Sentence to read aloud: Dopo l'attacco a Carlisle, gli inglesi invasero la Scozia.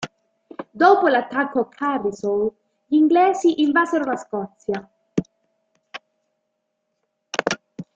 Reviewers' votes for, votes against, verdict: 2, 0, accepted